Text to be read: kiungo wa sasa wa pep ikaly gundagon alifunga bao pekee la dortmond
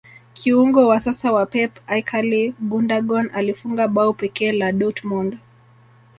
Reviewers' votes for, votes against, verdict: 2, 0, accepted